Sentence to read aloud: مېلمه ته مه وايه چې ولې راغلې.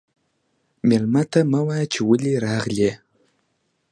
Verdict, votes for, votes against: accepted, 2, 0